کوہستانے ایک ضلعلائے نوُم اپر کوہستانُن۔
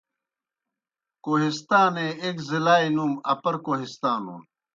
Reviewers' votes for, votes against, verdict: 2, 0, accepted